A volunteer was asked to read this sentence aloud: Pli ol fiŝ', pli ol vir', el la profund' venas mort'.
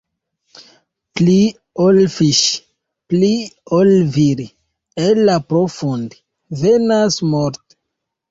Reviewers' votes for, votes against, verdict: 1, 2, rejected